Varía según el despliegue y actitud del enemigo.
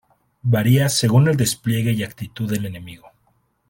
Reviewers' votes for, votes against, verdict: 2, 0, accepted